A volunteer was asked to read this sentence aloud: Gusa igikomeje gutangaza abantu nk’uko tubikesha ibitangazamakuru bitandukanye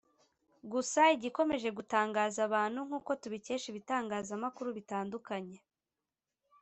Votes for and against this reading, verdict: 2, 0, accepted